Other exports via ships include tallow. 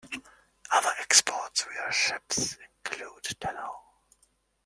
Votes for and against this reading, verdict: 2, 0, accepted